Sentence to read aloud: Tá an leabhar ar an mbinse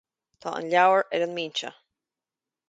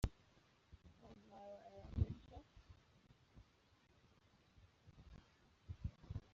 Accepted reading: first